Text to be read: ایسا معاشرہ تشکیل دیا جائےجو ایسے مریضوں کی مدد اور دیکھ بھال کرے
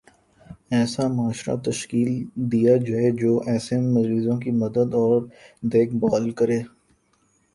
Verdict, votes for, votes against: accepted, 2, 0